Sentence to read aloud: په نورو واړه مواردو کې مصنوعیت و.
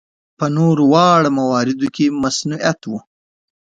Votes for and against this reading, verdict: 2, 0, accepted